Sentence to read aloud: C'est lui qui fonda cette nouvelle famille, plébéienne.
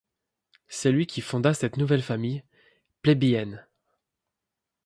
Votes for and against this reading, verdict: 2, 0, accepted